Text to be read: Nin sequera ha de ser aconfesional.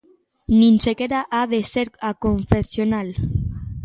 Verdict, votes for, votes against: accepted, 2, 0